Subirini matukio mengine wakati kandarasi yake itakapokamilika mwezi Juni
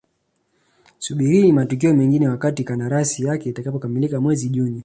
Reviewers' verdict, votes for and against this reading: accepted, 2, 0